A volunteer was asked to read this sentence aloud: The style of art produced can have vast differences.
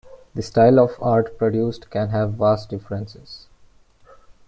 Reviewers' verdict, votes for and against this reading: accepted, 2, 0